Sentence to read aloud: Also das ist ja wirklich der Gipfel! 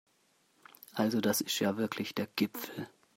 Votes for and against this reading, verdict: 2, 0, accepted